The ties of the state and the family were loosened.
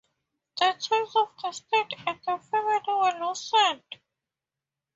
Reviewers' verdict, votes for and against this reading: rejected, 0, 4